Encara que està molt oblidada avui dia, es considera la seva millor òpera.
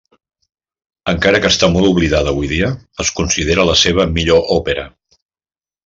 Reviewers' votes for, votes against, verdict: 3, 0, accepted